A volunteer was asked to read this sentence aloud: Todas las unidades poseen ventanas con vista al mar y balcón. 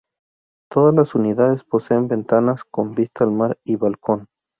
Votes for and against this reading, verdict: 0, 2, rejected